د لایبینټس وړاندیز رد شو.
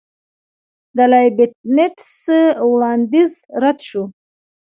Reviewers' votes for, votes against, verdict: 1, 2, rejected